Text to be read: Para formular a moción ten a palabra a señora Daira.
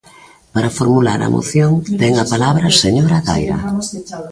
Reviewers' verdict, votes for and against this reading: accepted, 2, 0